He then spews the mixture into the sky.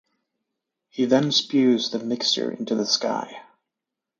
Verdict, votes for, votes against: accepted, 2, 0